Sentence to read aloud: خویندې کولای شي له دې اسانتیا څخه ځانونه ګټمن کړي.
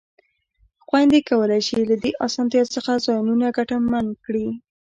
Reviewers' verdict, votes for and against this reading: rejected, 0, 2